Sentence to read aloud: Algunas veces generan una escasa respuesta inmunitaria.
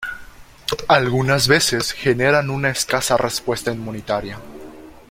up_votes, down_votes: 2, 1